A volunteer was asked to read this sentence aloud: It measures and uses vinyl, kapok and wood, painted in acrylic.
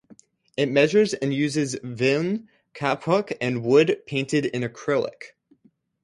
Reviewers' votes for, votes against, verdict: 6, 6, rejected